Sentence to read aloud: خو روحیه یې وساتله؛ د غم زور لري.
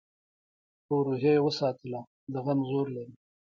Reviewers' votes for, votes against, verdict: 2, 1, accepted